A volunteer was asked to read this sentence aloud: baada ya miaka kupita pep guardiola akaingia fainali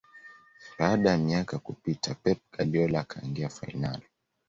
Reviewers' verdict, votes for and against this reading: accepted, 2, 0